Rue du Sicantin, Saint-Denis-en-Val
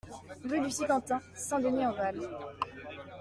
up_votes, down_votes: 2, 0